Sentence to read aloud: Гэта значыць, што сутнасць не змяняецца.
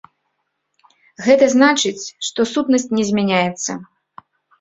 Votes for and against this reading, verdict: 2, 0, accepted